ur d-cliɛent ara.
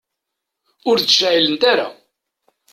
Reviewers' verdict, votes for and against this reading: rejected, 1, 2